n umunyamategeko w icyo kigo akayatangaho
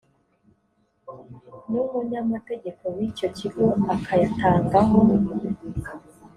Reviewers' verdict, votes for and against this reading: accepted, 2, 0